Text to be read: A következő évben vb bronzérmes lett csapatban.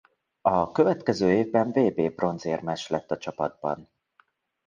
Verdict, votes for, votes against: rejected, 0, 2